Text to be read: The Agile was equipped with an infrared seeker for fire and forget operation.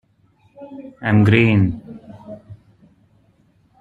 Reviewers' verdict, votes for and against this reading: rejected, 0, 2